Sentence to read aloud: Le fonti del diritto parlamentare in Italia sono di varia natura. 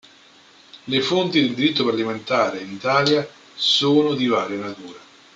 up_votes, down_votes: 0, 2